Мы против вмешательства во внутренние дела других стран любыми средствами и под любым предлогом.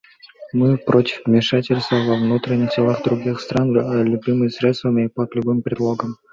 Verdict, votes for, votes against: accepted, 2, 1